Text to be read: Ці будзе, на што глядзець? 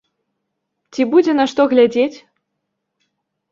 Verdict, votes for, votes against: accepted, 2, 0